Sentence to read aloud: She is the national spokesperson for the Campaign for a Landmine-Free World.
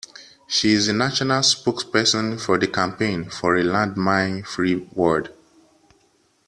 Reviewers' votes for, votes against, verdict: 2, 1, accepted